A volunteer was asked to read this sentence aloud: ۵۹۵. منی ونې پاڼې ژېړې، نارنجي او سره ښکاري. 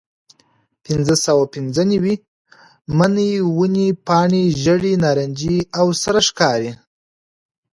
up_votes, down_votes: 0, 2